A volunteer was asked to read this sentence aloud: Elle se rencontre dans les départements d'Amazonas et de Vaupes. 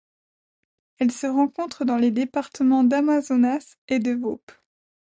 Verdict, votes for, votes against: rejected, 1, 2